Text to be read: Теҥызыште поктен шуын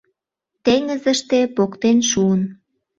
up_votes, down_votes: 2, 0